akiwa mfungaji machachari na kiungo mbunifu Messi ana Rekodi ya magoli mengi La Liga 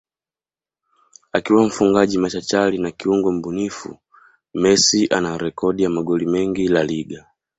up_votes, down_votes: 2, 0